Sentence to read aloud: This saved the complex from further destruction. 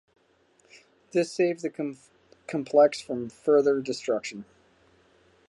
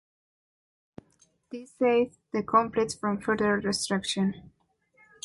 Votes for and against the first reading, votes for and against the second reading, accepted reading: 0, 2, 2, 1, second